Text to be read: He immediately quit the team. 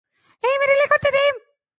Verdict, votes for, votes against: accepted, 2, 0